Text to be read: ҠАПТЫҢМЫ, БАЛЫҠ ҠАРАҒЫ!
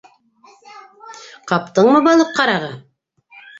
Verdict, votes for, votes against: rejected, 1, 2